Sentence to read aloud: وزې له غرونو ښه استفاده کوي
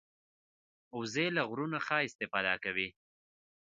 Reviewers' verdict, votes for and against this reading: accepted, 2, 1